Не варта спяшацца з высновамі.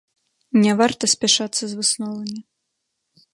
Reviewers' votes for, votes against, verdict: 2, 0, accepted